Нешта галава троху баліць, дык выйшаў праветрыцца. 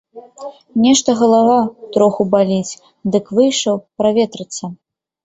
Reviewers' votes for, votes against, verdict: 2, 0, accepted